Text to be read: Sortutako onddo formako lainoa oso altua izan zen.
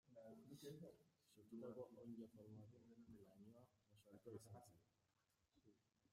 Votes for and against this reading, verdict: 0, 2, rejected